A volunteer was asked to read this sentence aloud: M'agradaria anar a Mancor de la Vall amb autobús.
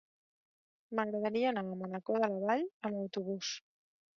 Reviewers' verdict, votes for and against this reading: rejected, 1, 2